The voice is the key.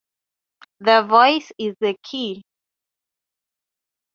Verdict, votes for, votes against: accepted, 3, 0